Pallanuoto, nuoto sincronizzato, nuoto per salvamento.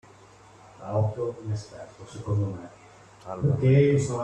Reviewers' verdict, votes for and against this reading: rejected, 0, 2